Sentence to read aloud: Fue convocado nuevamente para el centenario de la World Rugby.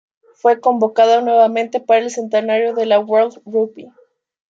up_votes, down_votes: 2, 1